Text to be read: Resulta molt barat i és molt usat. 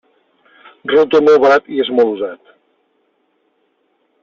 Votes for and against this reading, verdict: 1, 2, rejected